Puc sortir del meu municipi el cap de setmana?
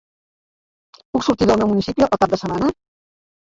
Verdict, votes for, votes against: rejected, 1, 2